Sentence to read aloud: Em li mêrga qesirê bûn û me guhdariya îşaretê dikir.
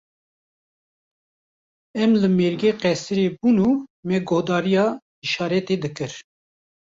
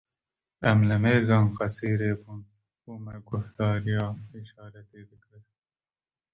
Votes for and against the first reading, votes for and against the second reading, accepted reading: 2, 0, 0, 2, first